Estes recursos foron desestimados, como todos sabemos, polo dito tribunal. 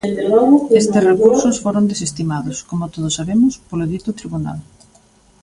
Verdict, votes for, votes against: rejected, 0, 2